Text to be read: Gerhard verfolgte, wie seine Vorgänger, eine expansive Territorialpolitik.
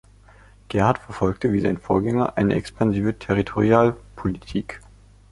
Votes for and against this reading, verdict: 2, 1, accepted